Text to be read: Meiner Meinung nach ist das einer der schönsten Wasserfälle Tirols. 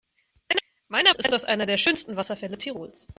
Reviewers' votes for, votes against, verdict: 1, 2, rejected